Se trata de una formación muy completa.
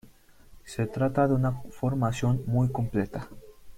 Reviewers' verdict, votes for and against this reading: rejected, 1, 2